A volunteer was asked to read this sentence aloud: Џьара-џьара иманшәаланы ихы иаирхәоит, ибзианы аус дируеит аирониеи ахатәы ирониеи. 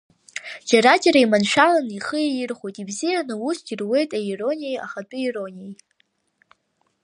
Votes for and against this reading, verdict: 1, 2, rejected